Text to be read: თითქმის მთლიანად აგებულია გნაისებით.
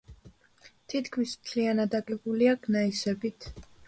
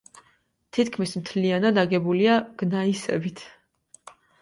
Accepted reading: second